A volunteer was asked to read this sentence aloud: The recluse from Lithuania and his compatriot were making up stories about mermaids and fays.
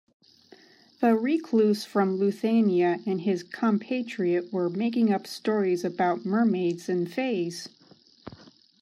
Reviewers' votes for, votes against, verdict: 0, 2, rejected